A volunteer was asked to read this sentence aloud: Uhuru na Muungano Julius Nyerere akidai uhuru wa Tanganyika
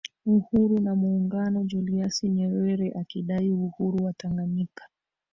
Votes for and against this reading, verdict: 1, 2, rejected